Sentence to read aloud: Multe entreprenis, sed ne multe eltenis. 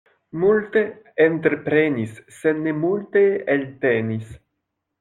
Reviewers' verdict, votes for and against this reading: accepted, 2, 0